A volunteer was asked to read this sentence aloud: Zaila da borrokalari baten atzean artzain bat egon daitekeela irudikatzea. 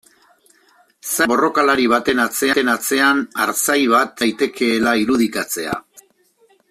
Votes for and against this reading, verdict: 0, 2, rejected